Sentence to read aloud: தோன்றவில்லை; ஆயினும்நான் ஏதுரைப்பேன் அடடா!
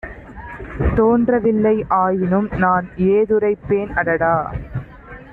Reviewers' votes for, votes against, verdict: 2, 0, accepted